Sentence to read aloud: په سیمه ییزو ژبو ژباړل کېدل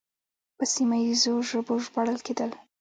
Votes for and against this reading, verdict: 2, 1, accepted